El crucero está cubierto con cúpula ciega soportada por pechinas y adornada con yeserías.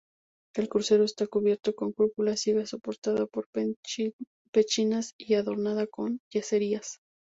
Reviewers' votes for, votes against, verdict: 0, 4, rejected